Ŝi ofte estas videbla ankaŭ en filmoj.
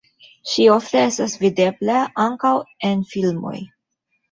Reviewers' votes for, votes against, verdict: 2, 0, accepted